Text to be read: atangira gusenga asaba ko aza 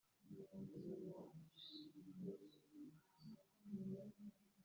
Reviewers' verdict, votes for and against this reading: rejected, 0, 2